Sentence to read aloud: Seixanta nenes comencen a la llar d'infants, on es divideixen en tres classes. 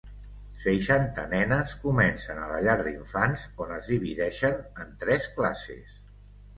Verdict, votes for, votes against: accepted, 3, 0